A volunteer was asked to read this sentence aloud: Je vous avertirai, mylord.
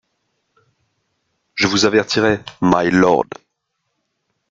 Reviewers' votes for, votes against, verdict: 2, 0, accepted